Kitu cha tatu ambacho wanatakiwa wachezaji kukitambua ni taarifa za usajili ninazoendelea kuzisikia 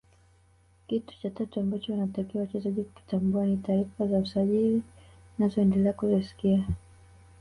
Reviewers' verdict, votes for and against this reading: rejected, 2, 3